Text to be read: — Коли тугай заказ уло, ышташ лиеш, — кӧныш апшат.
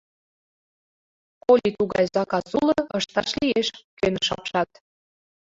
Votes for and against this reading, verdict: 2, 1, accepted